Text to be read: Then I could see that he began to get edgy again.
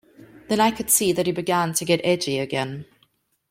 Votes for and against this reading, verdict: 2, 0, accepted